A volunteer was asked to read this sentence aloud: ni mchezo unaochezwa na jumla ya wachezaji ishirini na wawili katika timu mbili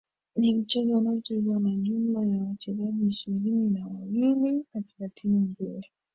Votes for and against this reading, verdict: 0, 2, rejected